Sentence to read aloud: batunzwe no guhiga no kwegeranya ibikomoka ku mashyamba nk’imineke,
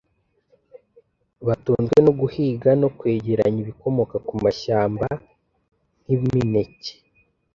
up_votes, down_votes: 2, 0